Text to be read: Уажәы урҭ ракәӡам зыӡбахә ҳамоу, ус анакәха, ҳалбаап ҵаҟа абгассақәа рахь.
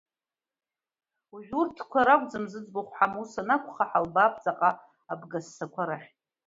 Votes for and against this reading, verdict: 2, 1, accepted